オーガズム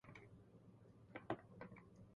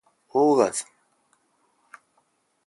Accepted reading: second